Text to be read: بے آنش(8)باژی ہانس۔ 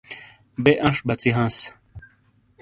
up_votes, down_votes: 0, 2